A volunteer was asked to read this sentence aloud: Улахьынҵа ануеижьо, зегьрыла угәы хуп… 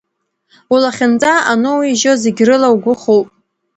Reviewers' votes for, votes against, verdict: 1, 2, rejected